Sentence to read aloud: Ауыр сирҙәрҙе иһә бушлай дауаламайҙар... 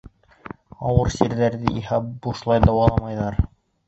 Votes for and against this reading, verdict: 0, 2, rejected